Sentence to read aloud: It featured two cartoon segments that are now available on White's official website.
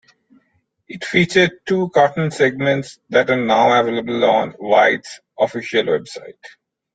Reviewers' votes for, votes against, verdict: 2, 0, accepted